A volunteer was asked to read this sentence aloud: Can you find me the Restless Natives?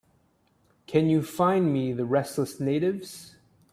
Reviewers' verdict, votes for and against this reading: accepted, 2, 0